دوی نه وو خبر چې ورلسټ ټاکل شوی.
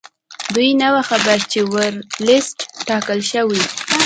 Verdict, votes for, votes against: accepted, 2, 0